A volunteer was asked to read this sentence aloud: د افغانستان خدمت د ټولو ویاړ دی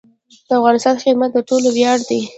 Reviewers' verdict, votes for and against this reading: accepted, 2, 0